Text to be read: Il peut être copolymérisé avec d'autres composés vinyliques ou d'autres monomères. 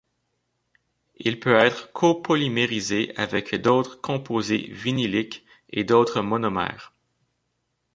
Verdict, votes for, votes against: accepted, 2, 1